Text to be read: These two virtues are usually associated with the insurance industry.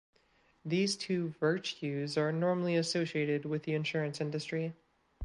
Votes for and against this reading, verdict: 1, 2, rejected